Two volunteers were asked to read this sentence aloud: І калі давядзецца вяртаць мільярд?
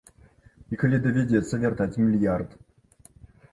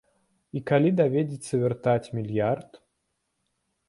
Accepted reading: first